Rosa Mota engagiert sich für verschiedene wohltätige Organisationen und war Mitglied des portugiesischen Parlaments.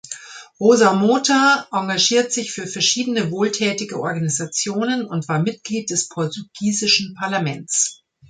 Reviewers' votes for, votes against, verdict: 1, 2, rejected